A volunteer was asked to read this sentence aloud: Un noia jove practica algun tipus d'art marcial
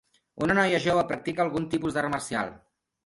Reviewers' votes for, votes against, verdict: 2, 0, accepted